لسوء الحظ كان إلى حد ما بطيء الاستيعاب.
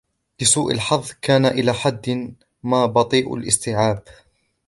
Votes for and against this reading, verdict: 1, 2, rejected